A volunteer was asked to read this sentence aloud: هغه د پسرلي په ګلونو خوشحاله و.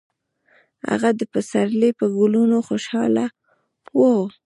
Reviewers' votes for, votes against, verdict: 1, 2, rejected